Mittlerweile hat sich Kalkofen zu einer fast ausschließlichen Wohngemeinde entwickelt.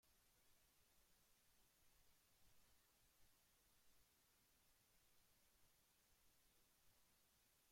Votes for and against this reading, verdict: 0, 2, rejected